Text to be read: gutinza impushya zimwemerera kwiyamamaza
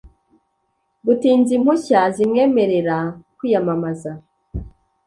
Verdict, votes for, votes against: accepted, 2, 0